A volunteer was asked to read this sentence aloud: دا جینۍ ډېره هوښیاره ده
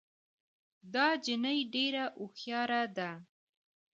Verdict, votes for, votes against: accepted, 2, 0